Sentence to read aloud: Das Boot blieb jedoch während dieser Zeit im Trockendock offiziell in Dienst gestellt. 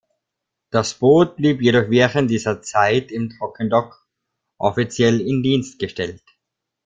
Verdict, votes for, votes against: accepted, 2, 1